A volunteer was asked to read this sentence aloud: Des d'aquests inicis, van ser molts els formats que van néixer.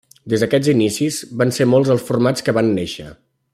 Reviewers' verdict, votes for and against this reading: accepted, 2, 0